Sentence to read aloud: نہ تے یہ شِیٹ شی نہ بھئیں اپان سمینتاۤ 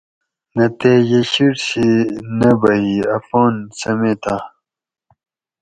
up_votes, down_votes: 2, 2